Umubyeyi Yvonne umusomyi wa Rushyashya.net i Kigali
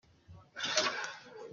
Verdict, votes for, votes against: rejected, 0, 3